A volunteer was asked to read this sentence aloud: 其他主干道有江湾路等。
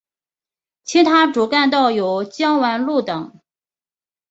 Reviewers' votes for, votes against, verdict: 2, 0, accepted